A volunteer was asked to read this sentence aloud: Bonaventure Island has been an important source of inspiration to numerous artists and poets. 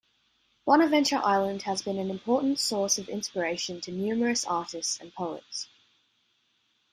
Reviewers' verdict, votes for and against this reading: accepted, 2, 0